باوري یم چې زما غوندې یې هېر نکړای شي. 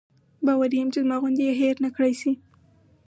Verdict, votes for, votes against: accepted, 4, 0